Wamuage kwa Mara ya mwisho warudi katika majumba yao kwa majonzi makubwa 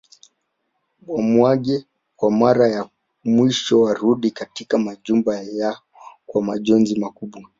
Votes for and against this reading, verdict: 1, 2, rejected